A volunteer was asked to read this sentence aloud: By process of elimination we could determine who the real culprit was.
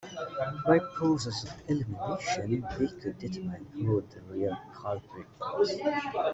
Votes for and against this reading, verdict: 0, 2, rejected